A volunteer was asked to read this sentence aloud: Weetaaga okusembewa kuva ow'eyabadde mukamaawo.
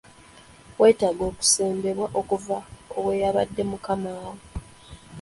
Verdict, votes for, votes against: rejected, 0, 2